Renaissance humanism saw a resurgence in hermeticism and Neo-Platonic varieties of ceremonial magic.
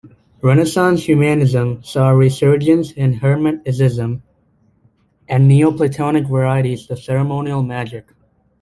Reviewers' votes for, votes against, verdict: 2, 1, accepted